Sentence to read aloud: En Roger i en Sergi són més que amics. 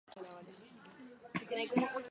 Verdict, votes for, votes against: rejected, 0, 4